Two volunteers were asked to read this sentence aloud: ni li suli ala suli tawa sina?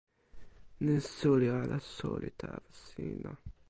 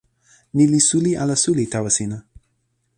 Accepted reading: second